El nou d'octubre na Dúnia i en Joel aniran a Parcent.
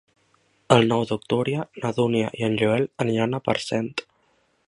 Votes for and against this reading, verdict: 0, 2, rejected